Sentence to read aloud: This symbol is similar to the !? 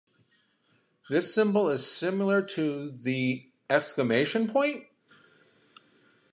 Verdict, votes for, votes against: rejected, 0, 2